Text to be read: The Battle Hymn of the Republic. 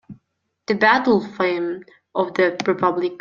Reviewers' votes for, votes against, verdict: 0, 2, rejected